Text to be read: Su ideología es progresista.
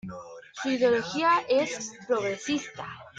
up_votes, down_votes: 1, 2